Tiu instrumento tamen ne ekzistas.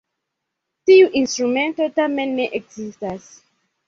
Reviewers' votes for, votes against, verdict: 1, 2, rejected